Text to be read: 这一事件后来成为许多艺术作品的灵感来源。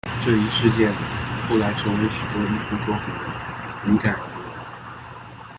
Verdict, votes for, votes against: rejected, 1, 2